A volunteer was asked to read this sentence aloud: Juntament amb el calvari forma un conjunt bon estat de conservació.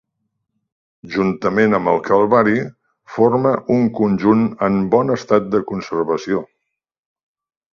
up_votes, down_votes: 0, 2